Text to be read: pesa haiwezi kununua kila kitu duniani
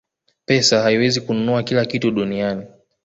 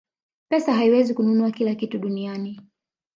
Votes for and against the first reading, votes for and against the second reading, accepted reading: 2, 1, 0, 2, first